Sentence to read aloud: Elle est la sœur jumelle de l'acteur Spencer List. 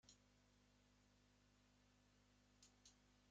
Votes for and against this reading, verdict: 0, 3, rejected